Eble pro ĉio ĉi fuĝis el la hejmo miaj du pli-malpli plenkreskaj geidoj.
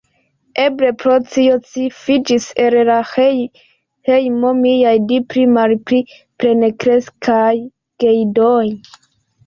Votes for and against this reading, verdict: 2, 0, accepted